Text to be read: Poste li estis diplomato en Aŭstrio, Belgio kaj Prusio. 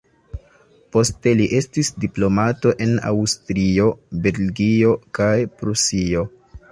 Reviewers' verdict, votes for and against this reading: accepted, 2, 0